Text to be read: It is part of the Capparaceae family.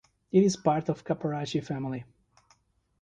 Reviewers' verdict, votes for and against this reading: rejected, 1, 2